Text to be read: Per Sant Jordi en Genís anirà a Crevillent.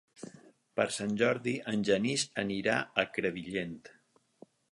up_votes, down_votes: 8, 0